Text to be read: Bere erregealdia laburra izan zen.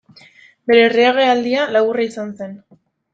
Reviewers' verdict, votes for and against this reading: rejected, 0, 2